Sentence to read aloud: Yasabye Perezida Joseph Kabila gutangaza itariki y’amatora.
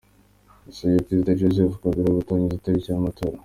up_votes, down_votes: 2, 0